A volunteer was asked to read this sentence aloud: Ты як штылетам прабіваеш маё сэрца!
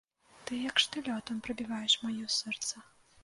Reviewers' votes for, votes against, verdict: 1, 2, rejected